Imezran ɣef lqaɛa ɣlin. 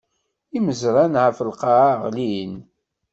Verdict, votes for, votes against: rejected, 1, 2